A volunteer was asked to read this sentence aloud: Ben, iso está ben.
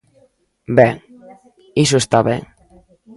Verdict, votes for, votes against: rejected, 1, 2